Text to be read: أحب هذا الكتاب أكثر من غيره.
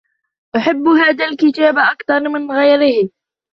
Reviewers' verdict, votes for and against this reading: rejected, 1, 2